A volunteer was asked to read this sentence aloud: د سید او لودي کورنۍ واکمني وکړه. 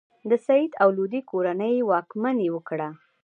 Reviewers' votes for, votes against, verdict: 2, 0, accepted